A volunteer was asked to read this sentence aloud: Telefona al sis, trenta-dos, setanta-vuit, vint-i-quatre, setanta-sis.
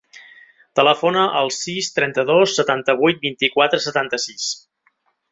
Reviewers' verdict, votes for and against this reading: accepted, 3, 0